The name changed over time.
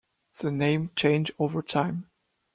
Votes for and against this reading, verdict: 2, 1, accepted